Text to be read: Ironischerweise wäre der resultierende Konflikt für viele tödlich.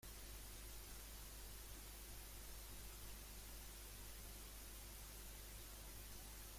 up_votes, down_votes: 0, 2